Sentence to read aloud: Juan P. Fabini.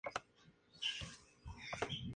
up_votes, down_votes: 0, 2